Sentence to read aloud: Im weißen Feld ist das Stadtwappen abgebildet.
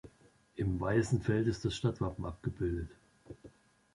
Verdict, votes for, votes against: accepted, 2, 0